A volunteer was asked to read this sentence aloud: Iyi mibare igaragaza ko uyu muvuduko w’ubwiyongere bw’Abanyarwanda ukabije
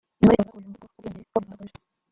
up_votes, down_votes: 0, 2